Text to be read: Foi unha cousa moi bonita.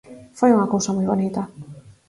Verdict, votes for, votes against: accepted, 4, 0